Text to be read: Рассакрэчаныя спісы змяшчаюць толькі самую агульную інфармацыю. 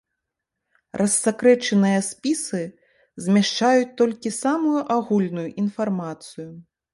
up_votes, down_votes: 2, 0